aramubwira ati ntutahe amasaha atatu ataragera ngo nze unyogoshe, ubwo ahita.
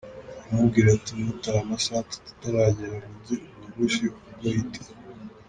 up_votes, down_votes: 1, 2